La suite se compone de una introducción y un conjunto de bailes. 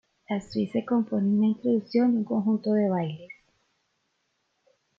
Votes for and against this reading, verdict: 2, 0, accepted